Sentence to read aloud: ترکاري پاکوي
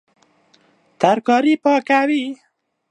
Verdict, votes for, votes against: accepted, 2, 0